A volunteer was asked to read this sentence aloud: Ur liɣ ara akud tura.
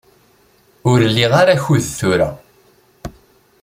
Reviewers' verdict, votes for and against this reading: accepted, 3, 0